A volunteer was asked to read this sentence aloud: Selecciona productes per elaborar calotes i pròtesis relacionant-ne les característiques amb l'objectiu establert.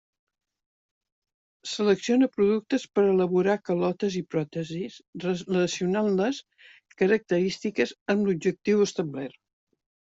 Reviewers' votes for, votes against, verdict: 0, 2, rejected